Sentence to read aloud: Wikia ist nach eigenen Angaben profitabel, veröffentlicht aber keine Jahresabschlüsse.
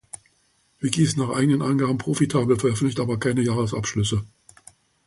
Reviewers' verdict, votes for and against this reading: rejected, 1, 2